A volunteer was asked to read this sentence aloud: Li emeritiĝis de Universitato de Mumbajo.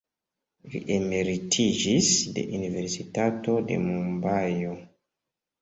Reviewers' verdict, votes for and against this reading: rejected, 1, 2